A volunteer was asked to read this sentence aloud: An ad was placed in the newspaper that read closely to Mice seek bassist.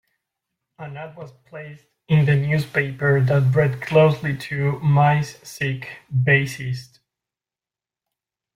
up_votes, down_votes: 2, 1